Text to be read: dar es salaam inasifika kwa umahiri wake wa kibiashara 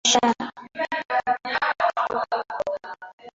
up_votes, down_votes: 0, 2